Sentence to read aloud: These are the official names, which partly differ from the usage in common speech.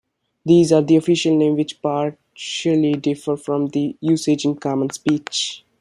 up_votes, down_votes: 0, 2